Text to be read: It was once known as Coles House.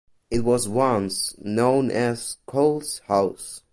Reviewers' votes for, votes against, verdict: 2, 0, accepted